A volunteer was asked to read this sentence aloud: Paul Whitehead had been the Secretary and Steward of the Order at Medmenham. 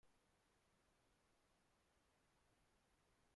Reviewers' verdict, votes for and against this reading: rejected, 0, 2